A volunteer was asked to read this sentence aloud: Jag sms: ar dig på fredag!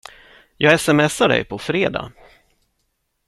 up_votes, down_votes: 2, 0